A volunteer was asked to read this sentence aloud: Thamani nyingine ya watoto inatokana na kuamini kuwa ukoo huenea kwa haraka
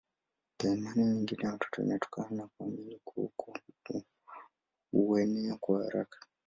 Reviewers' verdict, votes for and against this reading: rejected, 1, 2